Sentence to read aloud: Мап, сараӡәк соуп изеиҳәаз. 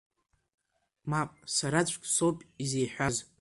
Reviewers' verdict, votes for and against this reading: accepted, 2, 0